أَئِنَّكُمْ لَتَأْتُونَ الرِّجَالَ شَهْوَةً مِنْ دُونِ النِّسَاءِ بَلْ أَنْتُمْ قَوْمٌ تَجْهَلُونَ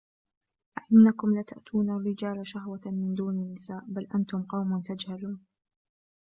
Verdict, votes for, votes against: rejected, 0, 2